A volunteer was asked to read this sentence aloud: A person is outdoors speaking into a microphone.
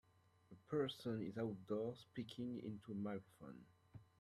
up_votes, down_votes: 2, 0